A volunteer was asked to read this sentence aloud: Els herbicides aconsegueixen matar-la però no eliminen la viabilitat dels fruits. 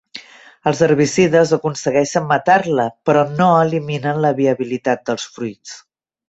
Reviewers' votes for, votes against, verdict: 3, 0, accepted